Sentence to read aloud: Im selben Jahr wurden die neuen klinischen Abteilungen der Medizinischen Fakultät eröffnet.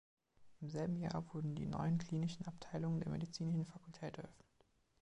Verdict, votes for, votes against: rejected, 1, 2